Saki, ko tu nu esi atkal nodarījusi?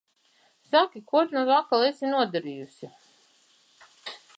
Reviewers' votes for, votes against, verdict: 1, 2, rejected